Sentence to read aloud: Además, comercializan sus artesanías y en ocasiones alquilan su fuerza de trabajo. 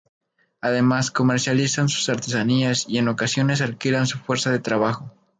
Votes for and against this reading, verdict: 0, 2, rejected